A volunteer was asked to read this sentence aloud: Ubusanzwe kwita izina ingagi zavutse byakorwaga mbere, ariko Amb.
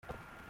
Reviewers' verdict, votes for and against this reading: rejected, 0, 4